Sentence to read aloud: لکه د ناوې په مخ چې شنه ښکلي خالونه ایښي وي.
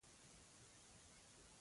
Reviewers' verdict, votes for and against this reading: rejected, 0, 2